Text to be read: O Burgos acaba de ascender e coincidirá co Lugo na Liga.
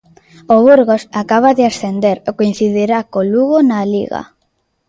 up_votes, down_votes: 2, 0